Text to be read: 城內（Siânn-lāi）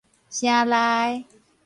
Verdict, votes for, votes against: accepted, 6, 0